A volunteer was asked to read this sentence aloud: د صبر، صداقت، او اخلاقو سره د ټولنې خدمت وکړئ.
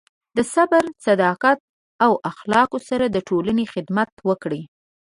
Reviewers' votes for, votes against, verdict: 2, 0, accepted